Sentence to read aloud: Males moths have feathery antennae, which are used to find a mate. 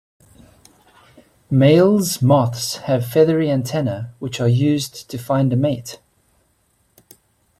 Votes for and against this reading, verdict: 2, 0, accepted